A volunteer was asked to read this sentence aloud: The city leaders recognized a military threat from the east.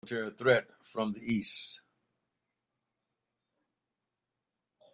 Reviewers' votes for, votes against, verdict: 0, 3, rejected